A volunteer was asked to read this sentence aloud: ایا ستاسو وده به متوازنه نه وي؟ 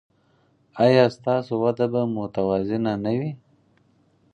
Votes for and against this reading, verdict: 4, 0, accepted